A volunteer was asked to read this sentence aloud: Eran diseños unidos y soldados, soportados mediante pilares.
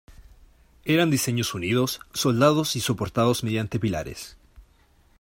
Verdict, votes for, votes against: rejected, 0, 2